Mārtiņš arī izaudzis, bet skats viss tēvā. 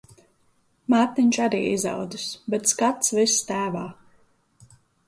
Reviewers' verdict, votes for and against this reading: accepted, 2, 0